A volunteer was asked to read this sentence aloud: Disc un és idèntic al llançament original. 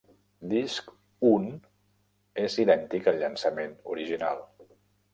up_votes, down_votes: 3, 1